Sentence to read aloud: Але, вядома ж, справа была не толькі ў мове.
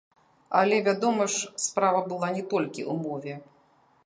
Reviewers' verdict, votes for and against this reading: rejected, 0, 2